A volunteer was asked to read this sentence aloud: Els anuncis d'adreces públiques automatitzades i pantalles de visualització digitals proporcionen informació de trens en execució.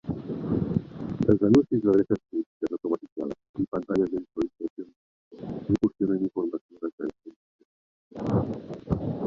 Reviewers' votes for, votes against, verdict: 0, 2, rejected